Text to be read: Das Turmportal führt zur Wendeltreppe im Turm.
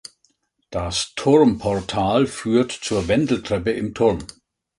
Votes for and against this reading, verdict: 2, 0, accepted